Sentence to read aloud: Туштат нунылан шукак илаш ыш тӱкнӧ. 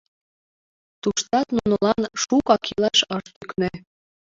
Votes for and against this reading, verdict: 0, 2, rejected